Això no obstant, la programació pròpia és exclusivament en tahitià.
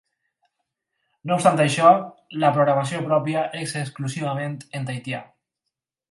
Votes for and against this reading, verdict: 0, 4, rejected